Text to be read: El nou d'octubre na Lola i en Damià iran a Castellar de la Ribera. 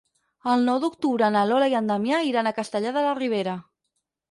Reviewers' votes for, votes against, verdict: 6, 0, accepted